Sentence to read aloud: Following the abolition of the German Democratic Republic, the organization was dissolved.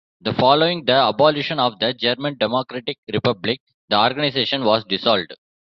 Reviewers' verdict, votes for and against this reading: rejected, 0, 2